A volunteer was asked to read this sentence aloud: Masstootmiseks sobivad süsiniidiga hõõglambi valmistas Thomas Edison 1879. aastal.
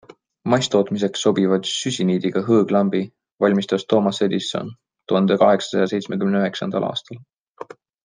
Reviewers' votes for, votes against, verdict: 0, 2, rejected